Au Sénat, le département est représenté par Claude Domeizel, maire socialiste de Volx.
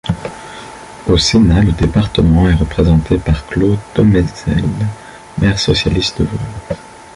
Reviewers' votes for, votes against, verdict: 0, 2, rejected